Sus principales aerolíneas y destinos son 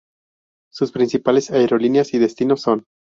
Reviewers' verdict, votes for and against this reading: accepted, 2, 0